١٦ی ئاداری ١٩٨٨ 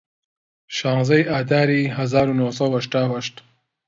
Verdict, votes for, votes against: rejected, 0, 2